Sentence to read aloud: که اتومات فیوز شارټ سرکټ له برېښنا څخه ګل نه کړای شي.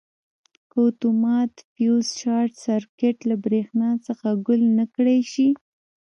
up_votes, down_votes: 0, 2